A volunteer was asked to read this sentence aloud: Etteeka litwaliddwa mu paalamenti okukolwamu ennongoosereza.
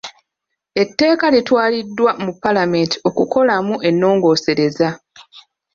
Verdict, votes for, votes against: rejected, 1, 2